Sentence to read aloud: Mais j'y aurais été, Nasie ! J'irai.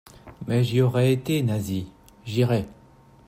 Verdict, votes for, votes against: accepted, 2, 0